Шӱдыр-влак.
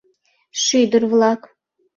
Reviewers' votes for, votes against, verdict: 2, 0, accepted